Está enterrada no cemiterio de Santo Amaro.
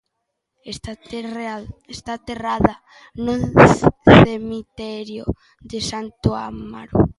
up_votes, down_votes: 0, 2